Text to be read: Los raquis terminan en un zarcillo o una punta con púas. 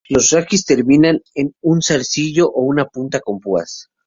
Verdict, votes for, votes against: rejected, 0, 2